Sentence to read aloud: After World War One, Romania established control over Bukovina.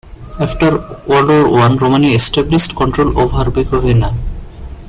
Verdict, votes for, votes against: accepted, 2, 1